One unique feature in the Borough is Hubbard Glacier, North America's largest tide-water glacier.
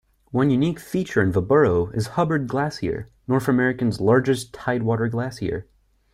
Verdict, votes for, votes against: rejected, 0, 2